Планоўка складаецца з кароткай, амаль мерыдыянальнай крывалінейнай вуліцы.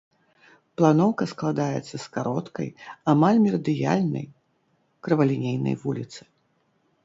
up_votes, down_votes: 1, 2